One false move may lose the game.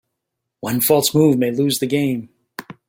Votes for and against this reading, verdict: 2, 0, accepted